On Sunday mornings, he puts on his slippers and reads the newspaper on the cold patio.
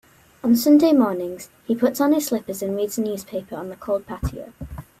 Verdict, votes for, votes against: accepted, 2, 1